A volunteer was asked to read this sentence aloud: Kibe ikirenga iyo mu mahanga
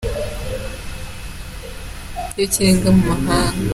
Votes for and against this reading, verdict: 0, 2, rejected